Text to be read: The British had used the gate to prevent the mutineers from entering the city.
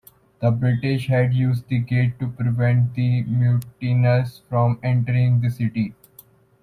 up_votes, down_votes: 0, 2